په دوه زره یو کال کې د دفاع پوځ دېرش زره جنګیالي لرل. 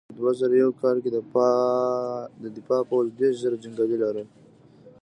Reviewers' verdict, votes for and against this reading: rejected, 1, 2